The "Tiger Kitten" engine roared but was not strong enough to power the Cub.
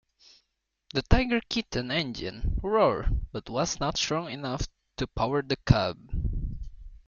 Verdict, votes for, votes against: accepted, 2, 0